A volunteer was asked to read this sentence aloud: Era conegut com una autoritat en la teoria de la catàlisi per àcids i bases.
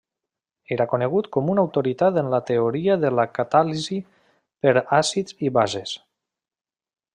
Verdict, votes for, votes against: accepted, 3, 0